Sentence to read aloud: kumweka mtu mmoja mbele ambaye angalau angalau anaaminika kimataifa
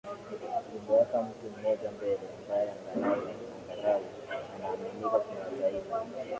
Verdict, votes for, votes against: rejected, 0, 2